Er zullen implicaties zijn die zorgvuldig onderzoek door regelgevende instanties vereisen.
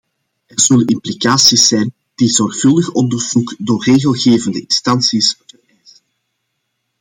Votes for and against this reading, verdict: 1, 2, rejected